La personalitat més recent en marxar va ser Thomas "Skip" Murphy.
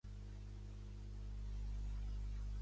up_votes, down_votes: 0, 2